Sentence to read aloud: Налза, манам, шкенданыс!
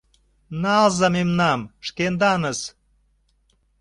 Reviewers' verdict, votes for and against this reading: rejected, 0, 2